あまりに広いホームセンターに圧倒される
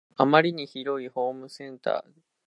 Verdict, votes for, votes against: rejected, 0, 2